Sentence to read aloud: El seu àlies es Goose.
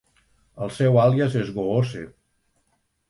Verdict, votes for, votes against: accepted, 2, 0